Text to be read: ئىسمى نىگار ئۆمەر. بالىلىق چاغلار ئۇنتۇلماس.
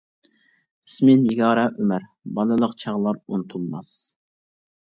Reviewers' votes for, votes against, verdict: 1, 2, rejected